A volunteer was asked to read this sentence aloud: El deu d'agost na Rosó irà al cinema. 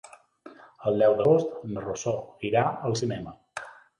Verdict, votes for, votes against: accepted, 3, 0